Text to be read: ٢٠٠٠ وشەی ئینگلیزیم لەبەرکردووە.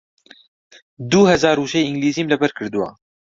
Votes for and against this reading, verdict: 0, 2, rejected